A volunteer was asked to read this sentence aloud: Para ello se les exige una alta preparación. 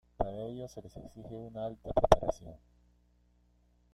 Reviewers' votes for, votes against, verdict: 1, 2, rejected